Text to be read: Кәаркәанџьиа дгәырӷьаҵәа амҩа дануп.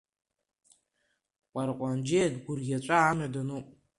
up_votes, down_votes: 0, 2